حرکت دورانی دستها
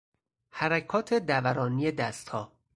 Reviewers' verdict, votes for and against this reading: rejected, 2, 4